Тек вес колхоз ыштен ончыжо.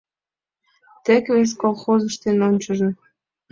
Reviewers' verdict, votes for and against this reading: accepted, 2, 0